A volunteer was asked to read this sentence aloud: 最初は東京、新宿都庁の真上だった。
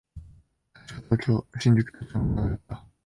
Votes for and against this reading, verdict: 0, 2, rejected